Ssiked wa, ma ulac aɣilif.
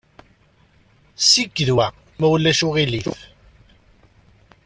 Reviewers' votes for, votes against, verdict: 2, 0, accepted